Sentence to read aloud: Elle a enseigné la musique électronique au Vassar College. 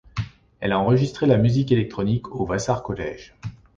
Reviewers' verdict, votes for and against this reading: rejected, 1, 2